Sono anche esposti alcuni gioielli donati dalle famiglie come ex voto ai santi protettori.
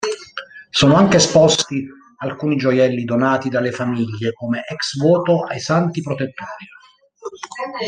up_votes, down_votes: 2, 0